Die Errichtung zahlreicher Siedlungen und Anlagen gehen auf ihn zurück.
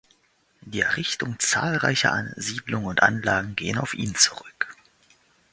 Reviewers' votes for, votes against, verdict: 1, 2, rejected